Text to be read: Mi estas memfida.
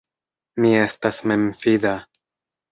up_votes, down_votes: 2, 0